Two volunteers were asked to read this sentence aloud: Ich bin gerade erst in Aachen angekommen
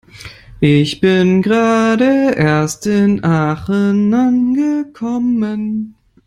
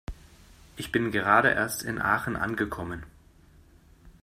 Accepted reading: second